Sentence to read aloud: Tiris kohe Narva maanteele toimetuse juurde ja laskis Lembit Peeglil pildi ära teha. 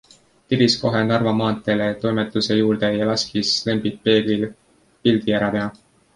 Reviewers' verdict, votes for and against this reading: accepted, 2, 0